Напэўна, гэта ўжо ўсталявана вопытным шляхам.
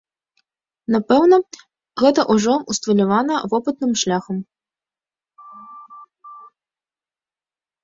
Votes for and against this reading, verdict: 2, 0, accepted